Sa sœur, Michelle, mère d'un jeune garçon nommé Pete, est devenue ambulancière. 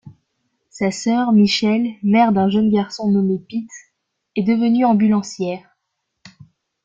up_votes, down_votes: 2, 0